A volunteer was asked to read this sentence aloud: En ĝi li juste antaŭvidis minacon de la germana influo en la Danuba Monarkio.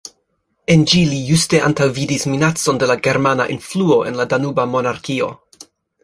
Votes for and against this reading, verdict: 1, 2, rejected